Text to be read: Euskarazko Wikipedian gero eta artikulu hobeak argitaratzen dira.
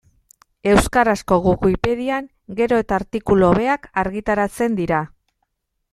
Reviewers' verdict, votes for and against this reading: accepted, 2, 0